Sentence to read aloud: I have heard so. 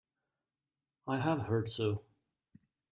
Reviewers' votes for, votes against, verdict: 2, 0, accepted